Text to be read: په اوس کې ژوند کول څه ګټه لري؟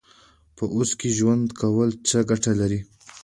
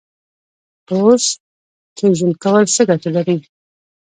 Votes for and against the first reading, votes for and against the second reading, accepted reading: 2, 1, 1, 2, first